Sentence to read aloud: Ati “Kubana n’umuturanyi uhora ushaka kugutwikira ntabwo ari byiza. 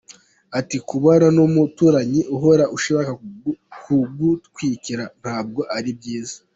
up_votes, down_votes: 3, 1